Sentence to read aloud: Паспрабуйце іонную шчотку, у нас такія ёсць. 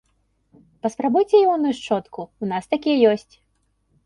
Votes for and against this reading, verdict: 3, 0, accepted